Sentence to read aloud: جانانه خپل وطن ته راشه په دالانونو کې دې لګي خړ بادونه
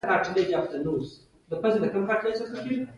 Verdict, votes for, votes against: rejected, 1, 2